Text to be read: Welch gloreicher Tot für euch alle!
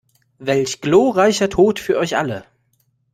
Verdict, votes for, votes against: rejected, 0, 2